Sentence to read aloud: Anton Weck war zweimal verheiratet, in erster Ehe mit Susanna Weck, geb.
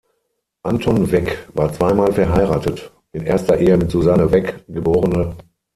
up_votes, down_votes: 3, 6